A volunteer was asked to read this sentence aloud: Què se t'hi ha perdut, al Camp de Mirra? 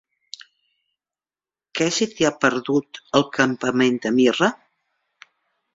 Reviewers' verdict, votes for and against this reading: rejected, 0, 2